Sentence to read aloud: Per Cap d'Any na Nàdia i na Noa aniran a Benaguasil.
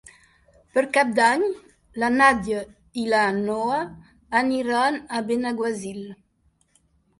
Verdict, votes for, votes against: rejected, 0, 2